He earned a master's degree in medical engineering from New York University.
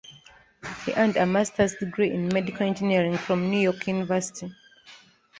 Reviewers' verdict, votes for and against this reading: accepted, 3, 0